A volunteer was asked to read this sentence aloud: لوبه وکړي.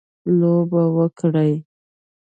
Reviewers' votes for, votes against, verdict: 2, 0, accepted